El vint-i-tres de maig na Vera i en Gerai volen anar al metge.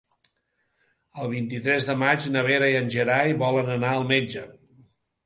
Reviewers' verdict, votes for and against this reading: accepted, 2, 0